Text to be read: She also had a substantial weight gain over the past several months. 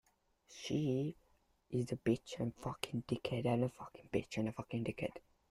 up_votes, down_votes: 0, 2